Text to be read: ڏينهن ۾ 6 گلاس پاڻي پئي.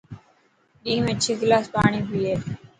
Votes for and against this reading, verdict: 0, 2, rejected